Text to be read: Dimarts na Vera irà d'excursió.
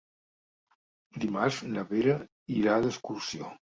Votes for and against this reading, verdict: 2, 0, accepted